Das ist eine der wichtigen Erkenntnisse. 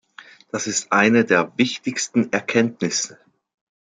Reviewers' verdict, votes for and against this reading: rejected, 0, 2